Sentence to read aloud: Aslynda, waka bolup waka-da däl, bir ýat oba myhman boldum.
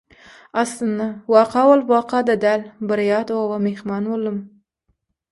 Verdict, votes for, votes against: accepted, 6, 3